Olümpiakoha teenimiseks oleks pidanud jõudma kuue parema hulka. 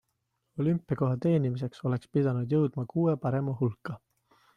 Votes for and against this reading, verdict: 2, 0, accepted